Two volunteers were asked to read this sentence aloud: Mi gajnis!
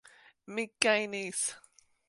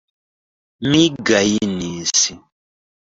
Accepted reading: first